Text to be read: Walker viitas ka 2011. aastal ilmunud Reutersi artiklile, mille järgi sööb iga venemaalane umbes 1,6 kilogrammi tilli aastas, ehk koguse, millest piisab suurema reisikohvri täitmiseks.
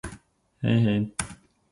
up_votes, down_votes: 0, 2